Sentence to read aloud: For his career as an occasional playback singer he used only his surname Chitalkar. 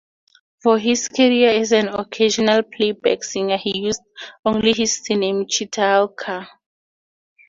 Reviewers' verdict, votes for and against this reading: rejected, 0, 2